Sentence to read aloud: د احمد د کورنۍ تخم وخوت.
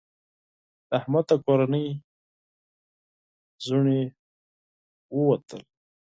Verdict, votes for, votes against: rejected, 0, 4